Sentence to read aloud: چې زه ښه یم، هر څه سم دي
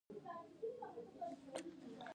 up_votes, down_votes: 0, 2